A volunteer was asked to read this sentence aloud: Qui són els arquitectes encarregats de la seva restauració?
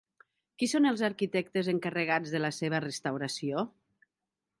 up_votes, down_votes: 3, 0